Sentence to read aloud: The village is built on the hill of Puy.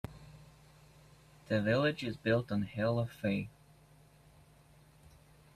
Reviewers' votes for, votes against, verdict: 1, 2, rejected